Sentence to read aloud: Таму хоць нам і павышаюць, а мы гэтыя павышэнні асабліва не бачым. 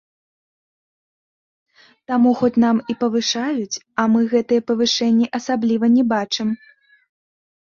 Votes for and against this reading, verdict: 0, 2, rejected